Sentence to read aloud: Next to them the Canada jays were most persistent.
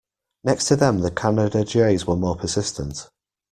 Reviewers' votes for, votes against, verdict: 1, 2, rejected